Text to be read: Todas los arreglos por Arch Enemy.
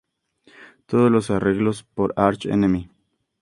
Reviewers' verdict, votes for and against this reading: accepted, 2, 0